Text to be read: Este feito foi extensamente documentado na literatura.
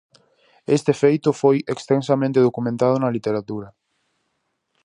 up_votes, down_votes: 4, 0